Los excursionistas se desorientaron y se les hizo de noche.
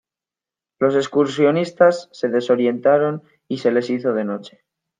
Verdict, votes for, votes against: accepted, 2, 1